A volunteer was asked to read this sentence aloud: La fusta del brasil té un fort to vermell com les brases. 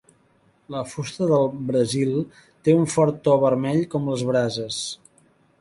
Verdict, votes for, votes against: accepted, 3, 0